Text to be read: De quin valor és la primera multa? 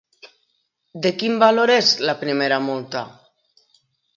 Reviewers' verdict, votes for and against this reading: accepted, 4, 0